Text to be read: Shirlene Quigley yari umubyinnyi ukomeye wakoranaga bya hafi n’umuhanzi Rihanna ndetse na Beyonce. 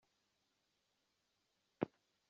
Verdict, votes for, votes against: rejected, 0, 2